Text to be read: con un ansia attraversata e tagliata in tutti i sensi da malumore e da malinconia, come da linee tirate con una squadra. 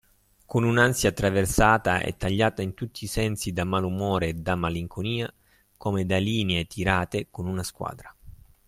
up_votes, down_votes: 2, 0